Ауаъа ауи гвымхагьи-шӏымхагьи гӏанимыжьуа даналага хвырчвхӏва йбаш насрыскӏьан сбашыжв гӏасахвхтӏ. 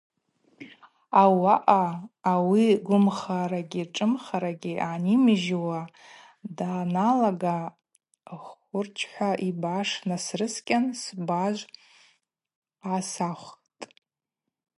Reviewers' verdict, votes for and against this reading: rejected, 0, 4